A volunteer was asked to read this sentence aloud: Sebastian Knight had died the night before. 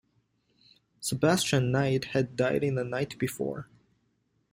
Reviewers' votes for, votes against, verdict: 1, 2, rejected